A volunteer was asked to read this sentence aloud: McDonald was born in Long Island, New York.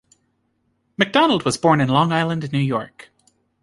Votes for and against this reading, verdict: 2, 0, accepted